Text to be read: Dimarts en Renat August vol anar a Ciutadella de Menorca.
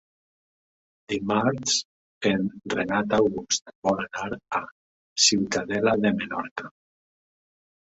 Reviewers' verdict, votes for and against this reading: rejected, 0, 2